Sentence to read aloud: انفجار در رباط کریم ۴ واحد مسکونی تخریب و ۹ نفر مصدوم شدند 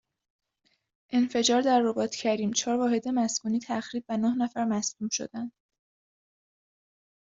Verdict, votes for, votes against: rejected, 0, 2